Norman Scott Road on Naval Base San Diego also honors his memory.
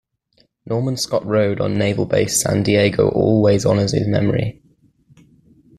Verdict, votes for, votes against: rejected, 0, 2